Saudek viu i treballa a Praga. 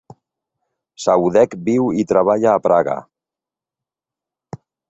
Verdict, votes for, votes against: accepted, 2, 1